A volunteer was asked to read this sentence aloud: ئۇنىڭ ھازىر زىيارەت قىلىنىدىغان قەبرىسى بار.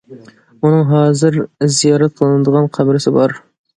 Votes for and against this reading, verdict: 2, 1, accepted